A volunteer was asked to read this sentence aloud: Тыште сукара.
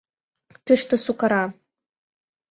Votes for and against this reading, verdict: 2, 0, accepted